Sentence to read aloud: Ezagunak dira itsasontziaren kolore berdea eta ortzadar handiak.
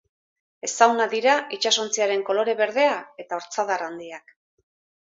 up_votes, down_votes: 0, 2